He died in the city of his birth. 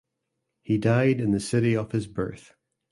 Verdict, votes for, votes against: accepted, 2, 1